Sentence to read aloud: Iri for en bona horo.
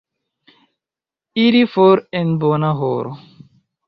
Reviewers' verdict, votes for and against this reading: accepted, 2, 0